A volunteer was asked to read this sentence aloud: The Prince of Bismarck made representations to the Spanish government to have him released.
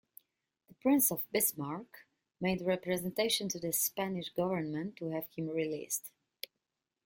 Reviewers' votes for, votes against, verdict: 3, 0, accepted